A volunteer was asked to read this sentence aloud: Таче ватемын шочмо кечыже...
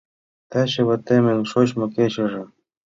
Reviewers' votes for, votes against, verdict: 2, 0, accepted